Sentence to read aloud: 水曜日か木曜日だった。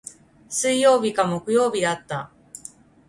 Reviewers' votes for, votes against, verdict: 2, 1, accepted